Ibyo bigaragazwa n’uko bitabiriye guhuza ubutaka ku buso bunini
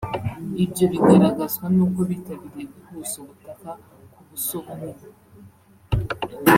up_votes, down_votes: 1, 2